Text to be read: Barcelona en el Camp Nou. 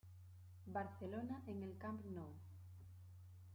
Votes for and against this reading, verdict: 2, 0, accepted